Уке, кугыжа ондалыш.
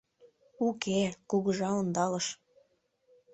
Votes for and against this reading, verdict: 2, 0, accepted